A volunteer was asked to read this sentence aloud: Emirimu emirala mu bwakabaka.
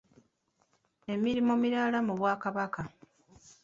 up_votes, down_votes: 2, 1